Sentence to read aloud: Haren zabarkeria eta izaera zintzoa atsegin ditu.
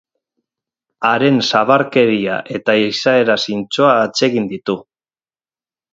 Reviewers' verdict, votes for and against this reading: rejected, 2, 2